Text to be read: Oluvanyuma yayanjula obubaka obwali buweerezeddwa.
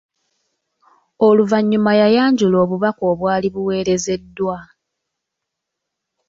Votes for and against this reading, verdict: 2, 1, accepted